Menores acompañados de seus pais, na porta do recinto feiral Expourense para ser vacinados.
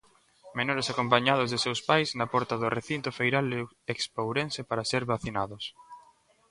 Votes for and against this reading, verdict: 0, 2, rejected